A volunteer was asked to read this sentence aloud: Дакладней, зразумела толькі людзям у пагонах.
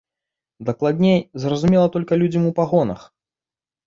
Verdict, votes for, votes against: rejected, 1, 2